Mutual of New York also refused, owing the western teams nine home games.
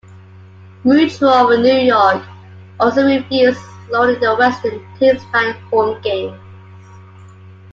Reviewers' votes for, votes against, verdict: 2, 1, accepted